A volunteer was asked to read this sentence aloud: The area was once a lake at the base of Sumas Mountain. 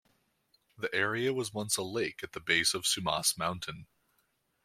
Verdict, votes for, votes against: accepted, 2, 0